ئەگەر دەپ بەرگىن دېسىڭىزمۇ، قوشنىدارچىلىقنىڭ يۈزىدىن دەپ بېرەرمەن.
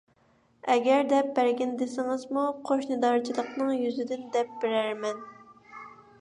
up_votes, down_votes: 2, 0